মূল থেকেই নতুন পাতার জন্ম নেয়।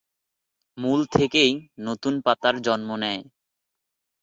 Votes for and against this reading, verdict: 2, 0, accepted